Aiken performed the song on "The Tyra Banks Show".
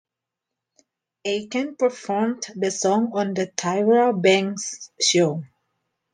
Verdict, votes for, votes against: accepted, 2, 0